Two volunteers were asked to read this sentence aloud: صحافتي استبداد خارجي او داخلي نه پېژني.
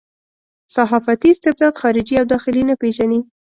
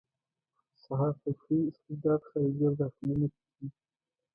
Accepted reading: first